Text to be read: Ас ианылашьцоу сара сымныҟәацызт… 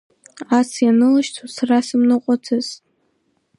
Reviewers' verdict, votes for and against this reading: rejected, 1, 2